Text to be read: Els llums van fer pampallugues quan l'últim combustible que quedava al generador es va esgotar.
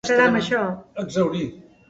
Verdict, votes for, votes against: rejected, 0, 2